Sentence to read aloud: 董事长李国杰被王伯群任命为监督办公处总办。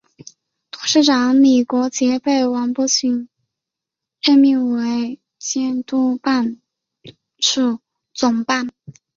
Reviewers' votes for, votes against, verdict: 6, 1, accepted